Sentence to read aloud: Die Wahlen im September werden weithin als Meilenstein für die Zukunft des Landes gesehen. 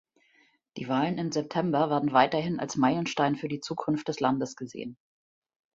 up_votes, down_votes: 1, 2